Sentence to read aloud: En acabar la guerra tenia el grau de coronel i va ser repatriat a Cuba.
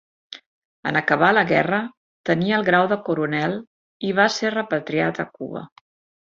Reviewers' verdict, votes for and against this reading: accepted, 3, 0